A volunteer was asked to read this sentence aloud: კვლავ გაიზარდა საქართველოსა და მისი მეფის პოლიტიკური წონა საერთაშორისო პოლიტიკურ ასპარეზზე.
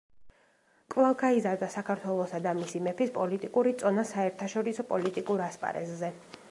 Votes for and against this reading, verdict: 2, 0, accepted